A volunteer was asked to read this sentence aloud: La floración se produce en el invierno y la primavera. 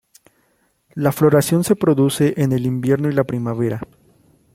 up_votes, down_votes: 2, 0